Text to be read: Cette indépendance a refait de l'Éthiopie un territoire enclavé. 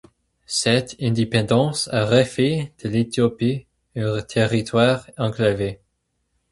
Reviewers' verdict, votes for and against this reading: accepted, 4, 0